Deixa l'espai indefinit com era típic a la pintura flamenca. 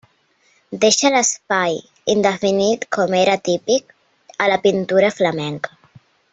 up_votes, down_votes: 4, 0